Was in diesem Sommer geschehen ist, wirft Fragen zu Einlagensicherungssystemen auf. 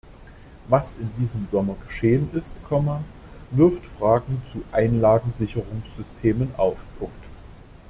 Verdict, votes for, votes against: rejected, 0, 2